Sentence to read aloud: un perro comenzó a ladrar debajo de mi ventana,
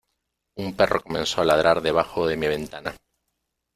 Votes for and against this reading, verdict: 2, 0, accepted